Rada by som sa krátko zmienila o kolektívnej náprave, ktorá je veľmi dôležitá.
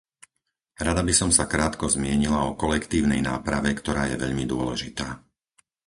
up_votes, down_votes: 4, 0